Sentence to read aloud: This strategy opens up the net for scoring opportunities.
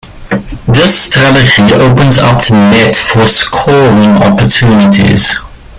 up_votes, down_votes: 0, 2